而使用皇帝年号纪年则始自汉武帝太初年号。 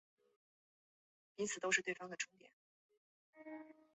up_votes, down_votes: 0, 2